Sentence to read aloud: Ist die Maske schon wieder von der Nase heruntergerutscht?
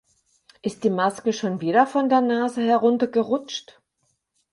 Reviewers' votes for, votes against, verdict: 4, 2, accepted